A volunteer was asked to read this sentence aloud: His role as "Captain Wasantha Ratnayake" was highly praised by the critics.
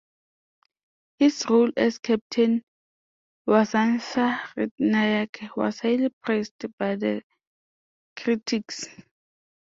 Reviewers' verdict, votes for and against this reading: rejected, 1, 3